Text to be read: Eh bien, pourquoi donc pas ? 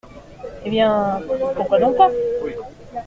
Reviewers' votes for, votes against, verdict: 2, 1, accepted